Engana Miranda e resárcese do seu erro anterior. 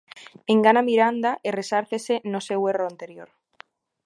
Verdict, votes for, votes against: rejected, 0, 2